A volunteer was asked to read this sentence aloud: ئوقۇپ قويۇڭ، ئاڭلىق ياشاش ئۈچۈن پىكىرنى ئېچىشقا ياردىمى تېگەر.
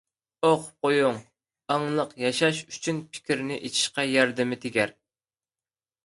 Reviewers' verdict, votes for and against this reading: accepted, 2, 1